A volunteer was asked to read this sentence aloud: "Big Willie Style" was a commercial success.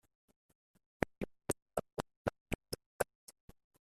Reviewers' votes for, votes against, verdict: 0, 2, rejected